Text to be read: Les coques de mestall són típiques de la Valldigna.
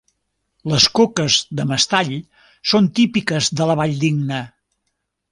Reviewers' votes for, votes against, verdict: 3, 0, accepted